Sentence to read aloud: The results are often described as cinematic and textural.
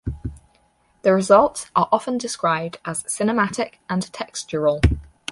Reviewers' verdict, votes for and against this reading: accepted, 6, 2